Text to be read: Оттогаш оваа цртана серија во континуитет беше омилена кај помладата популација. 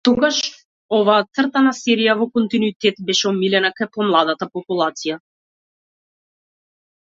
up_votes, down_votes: 0, 2